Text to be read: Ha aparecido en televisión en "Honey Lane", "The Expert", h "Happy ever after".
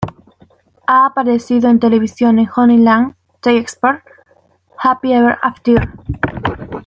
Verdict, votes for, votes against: rejected, 0, 2